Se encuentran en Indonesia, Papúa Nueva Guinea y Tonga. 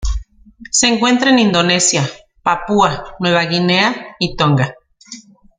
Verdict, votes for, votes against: rejected, 1, 2